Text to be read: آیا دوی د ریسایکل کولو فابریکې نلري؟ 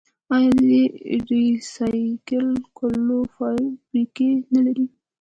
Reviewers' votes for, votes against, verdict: 1, 2, rejected